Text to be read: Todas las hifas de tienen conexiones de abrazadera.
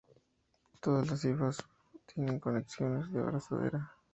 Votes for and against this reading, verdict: 0, 2, rejected